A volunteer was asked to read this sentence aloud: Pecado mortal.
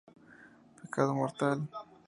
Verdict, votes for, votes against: rejected, 0, 2